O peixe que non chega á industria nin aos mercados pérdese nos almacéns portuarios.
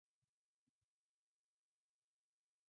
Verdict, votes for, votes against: rejected, 0, 2